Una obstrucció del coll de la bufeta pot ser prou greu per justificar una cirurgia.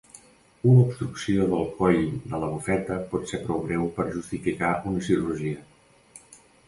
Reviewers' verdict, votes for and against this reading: rejected, 1, 2